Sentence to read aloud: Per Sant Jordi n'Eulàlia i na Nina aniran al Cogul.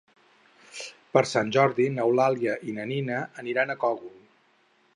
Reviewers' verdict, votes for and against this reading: rejected, 2, 4